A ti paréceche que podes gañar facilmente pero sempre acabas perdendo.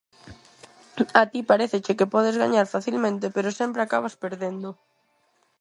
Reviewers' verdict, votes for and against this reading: accepted, 4, 0